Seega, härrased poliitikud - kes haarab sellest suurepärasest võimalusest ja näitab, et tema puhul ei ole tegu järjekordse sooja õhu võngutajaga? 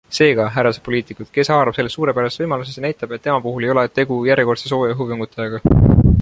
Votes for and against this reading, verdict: 2, 1, accepted